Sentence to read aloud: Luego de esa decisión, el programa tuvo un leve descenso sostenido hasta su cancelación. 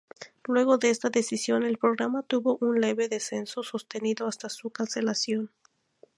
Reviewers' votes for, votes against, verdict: 4, 2, accepted